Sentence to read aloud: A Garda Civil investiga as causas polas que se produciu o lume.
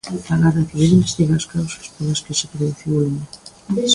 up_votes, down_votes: 0, 2